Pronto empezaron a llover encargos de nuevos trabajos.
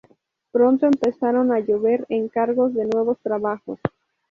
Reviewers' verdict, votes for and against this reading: rejected, 0, 2